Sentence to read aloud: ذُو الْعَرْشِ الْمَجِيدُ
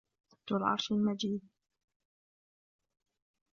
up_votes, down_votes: 2, 0